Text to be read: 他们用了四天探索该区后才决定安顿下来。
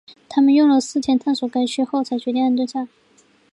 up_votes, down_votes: 2, 1